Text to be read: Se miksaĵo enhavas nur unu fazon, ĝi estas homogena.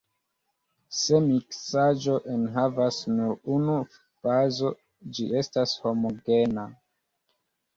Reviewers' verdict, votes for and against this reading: accepted, 3, 0